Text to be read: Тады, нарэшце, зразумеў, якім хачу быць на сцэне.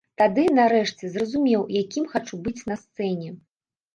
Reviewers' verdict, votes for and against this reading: accepted, 2, 0